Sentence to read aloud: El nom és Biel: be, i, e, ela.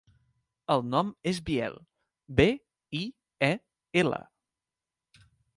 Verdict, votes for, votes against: accepted, 2, 0